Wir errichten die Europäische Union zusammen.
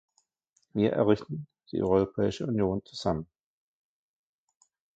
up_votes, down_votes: 0, 2